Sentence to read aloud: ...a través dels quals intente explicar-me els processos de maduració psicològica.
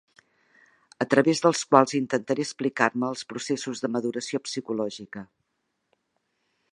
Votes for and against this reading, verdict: 1, 2, rejected